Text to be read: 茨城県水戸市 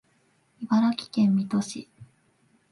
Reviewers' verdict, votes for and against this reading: accepted, 3, 0